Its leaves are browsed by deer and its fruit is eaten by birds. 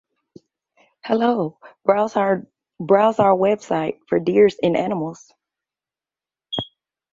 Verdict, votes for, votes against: rejected, 0, 2